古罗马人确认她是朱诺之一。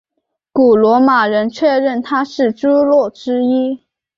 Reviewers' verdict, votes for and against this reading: accepted, 2, 0